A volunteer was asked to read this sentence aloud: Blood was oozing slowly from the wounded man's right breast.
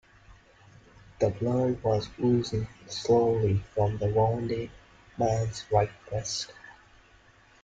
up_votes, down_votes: 1, 2